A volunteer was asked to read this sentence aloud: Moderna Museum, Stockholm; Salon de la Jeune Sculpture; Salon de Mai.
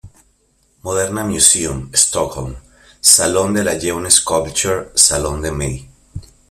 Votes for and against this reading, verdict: 2, 0, accepted